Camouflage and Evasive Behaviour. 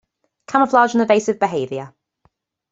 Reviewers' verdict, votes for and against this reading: accepted, 2, 0